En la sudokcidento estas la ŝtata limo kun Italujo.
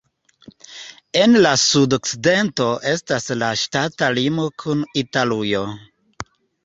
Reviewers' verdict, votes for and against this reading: accepted, 2, 0